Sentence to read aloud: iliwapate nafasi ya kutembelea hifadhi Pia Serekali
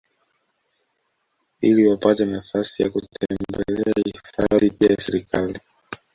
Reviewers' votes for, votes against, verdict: 1, 2, rejected